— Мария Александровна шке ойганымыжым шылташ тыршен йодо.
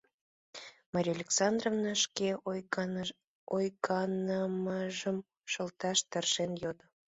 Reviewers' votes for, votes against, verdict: 0, 2, rejected